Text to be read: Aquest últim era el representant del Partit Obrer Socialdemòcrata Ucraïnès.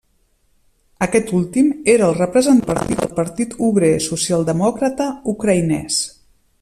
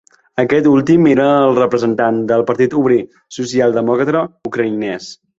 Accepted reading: second